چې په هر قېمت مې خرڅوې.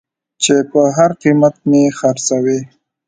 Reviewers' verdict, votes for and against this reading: accepted, 2, 0